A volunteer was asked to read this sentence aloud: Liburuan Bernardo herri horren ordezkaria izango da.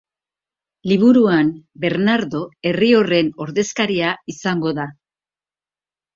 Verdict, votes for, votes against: accepted, 2, 0